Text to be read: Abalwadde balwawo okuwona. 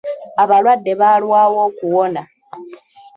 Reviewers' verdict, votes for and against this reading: rejected, 1, 2